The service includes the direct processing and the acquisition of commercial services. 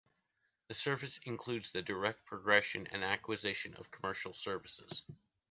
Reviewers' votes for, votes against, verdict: 0, 2, rejected